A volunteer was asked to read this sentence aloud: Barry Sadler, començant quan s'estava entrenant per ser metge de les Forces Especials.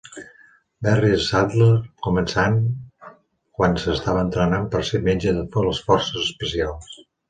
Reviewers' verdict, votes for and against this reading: rejected, 0, 2